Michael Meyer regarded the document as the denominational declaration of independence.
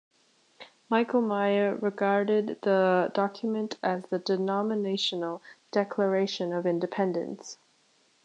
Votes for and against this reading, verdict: 2, 0, accepted